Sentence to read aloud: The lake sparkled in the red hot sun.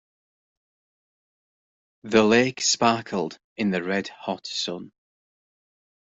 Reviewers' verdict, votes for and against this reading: accepted, 3, 0